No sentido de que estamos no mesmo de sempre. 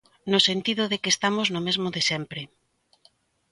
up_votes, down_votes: 2, 0